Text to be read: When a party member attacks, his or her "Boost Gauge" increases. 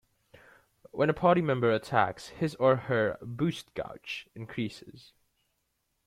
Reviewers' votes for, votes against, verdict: 2, 1, accepted